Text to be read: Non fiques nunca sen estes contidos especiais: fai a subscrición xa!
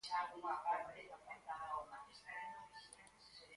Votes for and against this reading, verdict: 0, 4, rejected